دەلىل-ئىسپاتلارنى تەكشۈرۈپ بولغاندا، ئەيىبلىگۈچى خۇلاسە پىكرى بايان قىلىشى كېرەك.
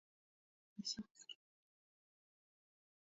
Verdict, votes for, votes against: rejected, 0, 2